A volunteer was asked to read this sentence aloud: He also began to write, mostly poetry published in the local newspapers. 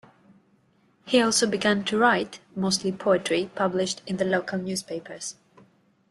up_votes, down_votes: 2, 0